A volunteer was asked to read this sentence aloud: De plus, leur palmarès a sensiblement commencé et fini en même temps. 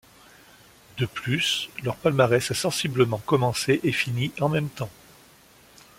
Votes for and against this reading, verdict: 2, 0, accepted